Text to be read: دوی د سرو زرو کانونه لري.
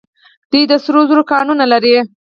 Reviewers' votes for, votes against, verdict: 2, 4, rejected